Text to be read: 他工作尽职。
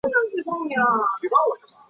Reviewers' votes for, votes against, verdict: 0, 2, rejected